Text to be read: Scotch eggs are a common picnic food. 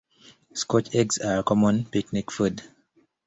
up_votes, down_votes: 2, 0